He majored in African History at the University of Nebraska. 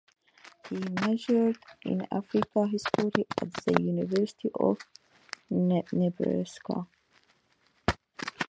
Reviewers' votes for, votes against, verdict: 0, 2, rejected